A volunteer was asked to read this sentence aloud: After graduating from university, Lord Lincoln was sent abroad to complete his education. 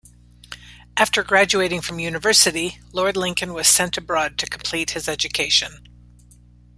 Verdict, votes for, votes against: accepted, 2, 0